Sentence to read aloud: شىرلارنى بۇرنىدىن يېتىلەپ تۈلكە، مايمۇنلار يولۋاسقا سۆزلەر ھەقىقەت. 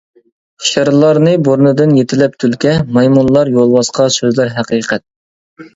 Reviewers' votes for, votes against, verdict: 2, 0, accepted